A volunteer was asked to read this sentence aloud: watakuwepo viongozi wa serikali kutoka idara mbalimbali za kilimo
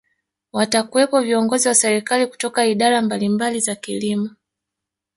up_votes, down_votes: 1, 2